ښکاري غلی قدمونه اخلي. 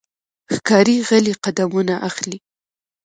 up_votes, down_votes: 2, 0